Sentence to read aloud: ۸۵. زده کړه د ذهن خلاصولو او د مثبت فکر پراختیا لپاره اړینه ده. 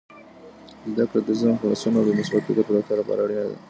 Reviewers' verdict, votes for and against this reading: rejected, 0, 2